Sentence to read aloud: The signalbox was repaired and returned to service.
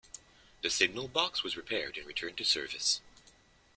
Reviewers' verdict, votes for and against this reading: accepted, 2, 0